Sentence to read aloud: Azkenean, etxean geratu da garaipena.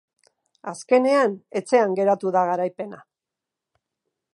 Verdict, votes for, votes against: accepted, 2, 0